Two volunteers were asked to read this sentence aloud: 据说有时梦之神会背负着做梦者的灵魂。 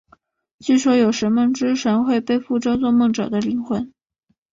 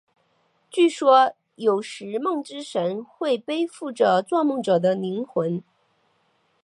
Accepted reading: first